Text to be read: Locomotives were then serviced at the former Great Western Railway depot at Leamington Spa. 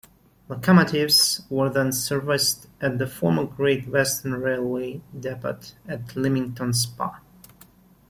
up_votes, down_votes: 1, 2